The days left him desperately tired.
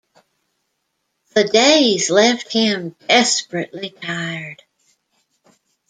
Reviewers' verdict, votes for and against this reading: accepted, 2, 0